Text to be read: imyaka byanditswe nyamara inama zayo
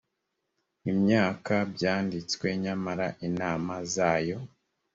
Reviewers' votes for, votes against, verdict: 2, 0, accepted